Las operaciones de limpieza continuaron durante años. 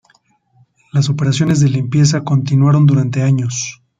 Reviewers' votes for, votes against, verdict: 2, 0, accepted